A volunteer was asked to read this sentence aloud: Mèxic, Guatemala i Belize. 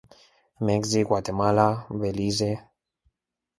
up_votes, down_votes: 2, 0